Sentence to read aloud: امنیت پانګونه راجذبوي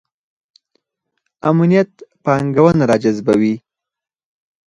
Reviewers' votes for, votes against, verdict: 4, 0, accepted